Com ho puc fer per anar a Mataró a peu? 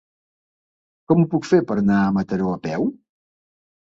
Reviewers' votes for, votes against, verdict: 2, 0, accepted